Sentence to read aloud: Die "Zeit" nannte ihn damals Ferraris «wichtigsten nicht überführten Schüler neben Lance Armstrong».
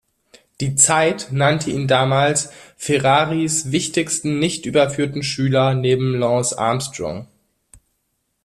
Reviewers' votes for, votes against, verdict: 2, 0, accepted